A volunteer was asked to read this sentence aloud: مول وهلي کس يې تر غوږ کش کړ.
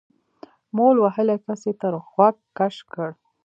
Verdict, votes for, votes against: rejected, 1, 2